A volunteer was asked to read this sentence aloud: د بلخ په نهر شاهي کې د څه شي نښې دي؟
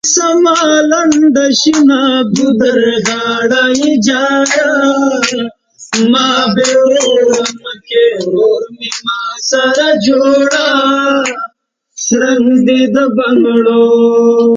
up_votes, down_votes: 1, 2